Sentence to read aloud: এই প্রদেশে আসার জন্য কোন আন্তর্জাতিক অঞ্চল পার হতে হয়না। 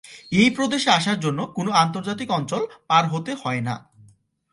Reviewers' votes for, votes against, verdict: 2, 1, accepted